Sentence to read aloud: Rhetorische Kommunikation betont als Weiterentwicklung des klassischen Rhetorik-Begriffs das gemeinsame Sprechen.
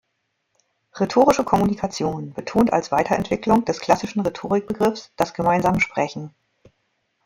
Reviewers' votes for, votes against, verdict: 2, 1, accepted